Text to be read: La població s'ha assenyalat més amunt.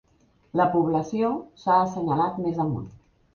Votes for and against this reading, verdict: 2, 0, accepted